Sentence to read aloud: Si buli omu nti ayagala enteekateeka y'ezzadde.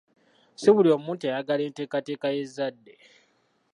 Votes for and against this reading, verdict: 0, 2, rejected